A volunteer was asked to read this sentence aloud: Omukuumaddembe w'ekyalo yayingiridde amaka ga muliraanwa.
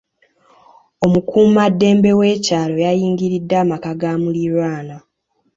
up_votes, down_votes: 2, 1